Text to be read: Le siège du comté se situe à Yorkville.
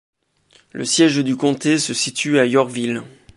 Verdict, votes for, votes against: rejected, 0, 2